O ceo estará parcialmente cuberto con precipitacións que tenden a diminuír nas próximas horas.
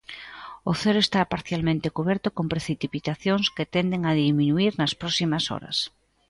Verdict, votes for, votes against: rejected, 0, 2